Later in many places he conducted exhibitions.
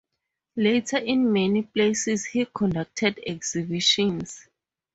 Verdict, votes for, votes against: accepted, 4, 0